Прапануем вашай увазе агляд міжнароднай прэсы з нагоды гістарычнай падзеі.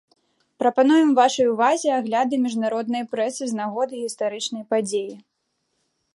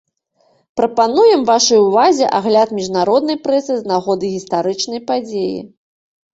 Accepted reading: second